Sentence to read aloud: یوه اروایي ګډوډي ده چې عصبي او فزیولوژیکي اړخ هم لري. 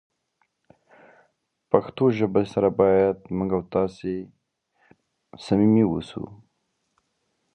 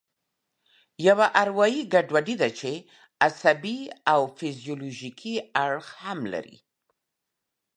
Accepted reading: second